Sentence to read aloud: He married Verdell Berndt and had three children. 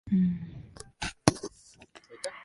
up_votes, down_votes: 0, 2